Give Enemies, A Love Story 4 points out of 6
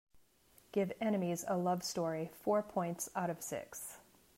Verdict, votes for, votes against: rejected, 0, 2